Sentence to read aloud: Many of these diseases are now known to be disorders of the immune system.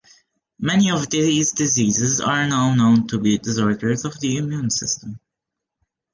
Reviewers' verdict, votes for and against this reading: rejected, 1, 2